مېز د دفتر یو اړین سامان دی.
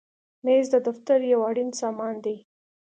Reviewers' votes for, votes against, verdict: 2, 0, accepted